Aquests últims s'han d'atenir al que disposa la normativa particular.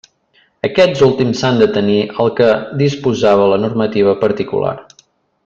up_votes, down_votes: 0, 2